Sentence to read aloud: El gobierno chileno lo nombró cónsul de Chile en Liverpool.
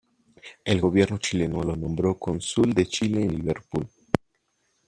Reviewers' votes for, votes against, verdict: 2, 1, accepted